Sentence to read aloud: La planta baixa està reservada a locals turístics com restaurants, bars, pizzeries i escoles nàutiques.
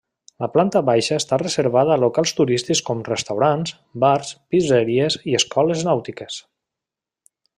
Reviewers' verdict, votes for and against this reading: rejected, 1, 2